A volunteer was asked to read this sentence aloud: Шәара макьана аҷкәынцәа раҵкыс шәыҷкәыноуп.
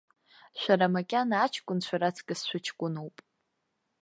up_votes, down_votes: 0, 2